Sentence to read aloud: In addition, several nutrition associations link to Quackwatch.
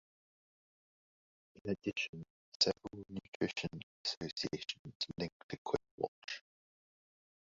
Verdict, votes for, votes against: rejected, 0, 2